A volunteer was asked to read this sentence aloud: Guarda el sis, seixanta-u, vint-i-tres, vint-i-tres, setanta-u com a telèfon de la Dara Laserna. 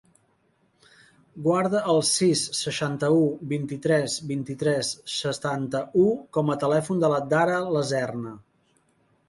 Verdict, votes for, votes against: rejected, 1, 2